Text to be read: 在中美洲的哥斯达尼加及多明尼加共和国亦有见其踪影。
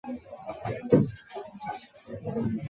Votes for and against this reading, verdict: 1, 3, rejected